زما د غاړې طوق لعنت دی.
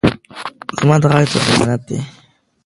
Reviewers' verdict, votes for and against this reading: rejected, 0, 2